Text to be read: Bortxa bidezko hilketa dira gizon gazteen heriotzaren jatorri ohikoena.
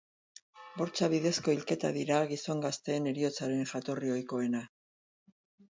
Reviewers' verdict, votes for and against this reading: rejected, 6, 6